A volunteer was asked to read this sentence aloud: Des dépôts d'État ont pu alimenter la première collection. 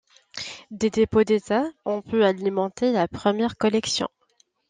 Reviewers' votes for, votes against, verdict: 2, 0, accepted